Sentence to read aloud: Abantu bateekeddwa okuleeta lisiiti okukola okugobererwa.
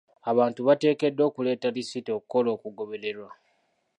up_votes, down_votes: 2, 0